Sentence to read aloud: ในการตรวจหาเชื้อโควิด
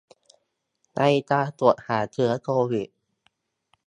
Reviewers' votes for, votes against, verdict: 2, 1, accepted